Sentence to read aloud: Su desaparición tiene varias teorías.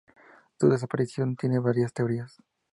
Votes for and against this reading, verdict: 2, 0, accepted